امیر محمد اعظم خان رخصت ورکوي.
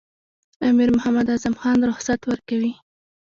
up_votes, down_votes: 1, 2